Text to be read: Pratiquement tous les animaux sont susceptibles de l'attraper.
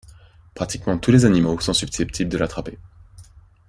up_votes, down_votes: 1, 2